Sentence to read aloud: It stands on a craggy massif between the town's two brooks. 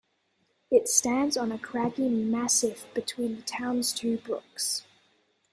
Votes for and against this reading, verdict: 2, 0, accepted